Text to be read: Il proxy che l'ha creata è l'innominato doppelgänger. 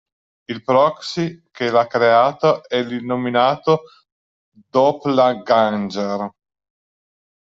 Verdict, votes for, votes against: rejected, 0, 2